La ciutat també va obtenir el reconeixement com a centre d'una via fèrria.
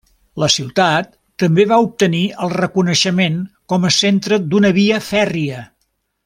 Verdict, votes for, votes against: accepted, 3, 0